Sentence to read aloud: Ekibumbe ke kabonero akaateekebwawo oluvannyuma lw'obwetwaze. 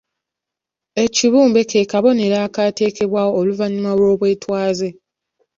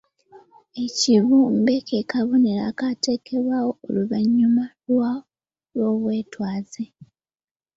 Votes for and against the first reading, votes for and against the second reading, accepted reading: 2, 0, 1, 2, first